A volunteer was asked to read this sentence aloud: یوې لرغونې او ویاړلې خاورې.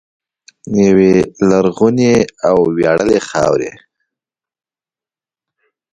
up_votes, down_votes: 0, 2